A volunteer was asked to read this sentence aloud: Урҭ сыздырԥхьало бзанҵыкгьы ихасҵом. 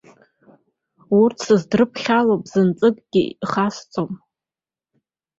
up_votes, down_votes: 2, 0